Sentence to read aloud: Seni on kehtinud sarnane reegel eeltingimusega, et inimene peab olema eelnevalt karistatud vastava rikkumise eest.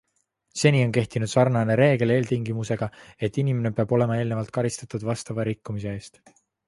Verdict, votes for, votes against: accepted, 2, 0